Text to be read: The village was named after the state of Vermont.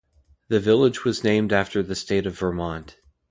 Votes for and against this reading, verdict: 2, 0, accepted